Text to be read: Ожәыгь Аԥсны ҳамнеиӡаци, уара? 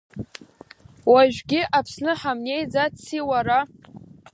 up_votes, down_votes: 0, 2